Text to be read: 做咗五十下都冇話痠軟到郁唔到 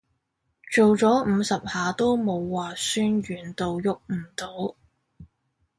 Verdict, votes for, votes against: accepted, 2, 0